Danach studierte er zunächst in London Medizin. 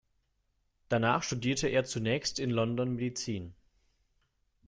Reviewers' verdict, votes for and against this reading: accepted, 2, 0